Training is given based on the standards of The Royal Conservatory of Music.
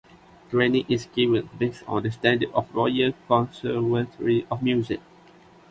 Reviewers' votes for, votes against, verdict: 0, 2, rejected